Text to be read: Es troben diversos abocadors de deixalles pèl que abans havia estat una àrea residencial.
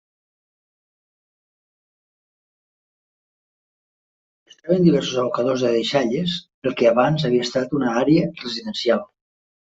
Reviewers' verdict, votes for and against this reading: rejected, 1, 2